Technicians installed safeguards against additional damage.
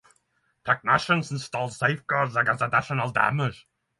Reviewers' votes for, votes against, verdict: 6, 0, accepted